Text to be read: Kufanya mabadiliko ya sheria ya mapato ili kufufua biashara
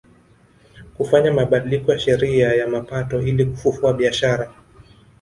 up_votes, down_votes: 2, 0